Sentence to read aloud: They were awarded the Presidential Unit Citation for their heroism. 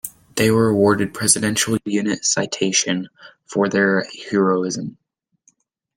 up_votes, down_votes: 2, 0